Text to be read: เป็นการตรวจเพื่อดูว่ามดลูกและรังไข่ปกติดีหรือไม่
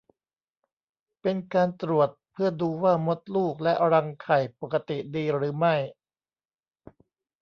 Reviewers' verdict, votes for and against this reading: accepted, 3, 0